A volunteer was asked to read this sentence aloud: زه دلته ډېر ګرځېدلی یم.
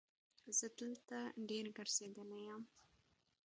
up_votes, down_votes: 2, 0